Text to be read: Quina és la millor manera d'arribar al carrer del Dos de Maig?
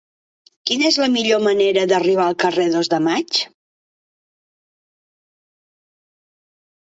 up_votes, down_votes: 1, 2